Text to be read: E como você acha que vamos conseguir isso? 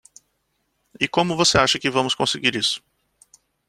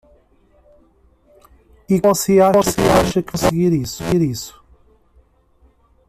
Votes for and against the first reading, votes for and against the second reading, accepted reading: 2, 0, 0, 2, first